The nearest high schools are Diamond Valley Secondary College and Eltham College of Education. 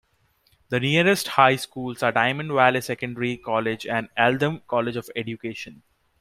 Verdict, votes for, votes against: accepted, 2, 1